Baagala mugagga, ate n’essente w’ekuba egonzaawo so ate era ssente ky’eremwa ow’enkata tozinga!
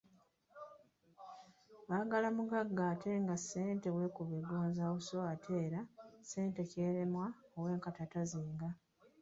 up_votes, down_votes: 0, 2